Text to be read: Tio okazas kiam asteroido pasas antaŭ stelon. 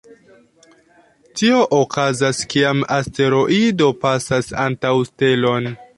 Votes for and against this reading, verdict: 2, 1, accepted